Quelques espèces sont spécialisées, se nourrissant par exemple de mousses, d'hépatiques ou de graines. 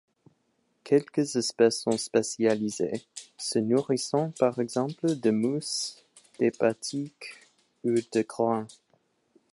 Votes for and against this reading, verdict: 1, 2, rejected